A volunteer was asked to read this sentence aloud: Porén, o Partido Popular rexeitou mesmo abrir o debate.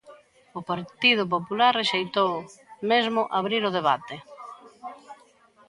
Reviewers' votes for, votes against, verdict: 0, 2, rejected